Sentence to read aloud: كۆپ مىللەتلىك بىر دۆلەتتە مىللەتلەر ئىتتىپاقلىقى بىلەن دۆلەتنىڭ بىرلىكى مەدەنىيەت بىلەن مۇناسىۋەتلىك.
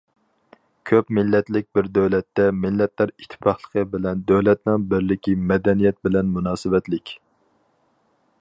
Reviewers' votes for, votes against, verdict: 4, 0, accepted